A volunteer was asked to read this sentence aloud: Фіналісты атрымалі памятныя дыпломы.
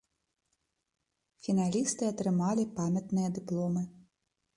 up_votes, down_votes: 1, 2